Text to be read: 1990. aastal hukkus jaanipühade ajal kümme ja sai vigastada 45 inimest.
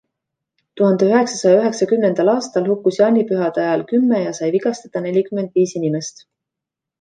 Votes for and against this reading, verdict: 0, 2, rejected